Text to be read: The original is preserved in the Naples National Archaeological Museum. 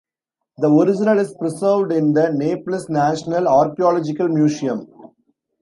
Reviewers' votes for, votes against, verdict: 0, 2, rejected